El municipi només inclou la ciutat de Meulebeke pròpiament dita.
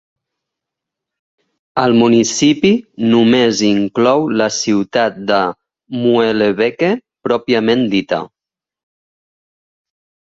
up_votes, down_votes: 1, 2